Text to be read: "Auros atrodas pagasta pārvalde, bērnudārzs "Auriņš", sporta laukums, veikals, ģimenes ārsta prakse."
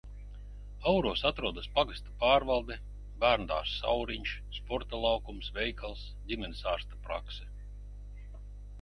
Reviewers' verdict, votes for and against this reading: accepted, 4, 0